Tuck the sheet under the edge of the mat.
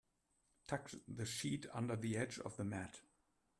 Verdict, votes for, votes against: accepted, 2, 0